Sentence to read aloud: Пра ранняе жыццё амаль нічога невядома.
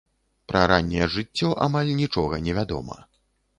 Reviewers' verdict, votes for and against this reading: accepted, 2, 0